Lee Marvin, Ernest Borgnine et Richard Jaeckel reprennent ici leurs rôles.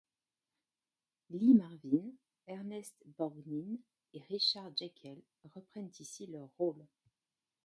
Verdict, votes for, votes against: rejected, 1, 2